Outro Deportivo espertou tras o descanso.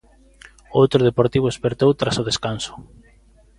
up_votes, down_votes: 2, 0